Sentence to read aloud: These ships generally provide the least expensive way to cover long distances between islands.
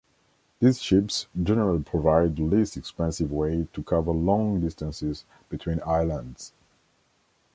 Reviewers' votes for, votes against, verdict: 2, 0, accepted